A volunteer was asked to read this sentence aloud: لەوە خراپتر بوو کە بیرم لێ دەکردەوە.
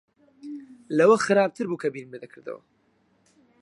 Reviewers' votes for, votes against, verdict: 4, 2, accepted